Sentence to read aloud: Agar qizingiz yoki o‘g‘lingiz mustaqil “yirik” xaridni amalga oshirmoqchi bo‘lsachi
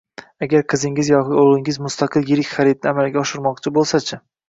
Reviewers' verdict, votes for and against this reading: accepted, 2, 0